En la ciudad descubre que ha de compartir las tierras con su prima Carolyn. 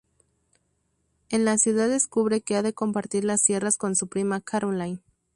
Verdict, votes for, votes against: rejected, 0, 2